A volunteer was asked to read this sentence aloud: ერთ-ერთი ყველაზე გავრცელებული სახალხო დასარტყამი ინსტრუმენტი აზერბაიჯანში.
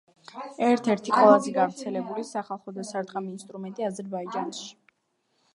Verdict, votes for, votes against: accepted, 2, 0